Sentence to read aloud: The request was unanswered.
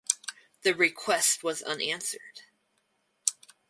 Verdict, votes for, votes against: rejected, 2, 2